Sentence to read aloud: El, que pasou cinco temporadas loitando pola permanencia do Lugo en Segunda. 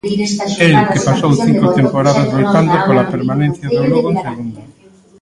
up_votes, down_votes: 0, 2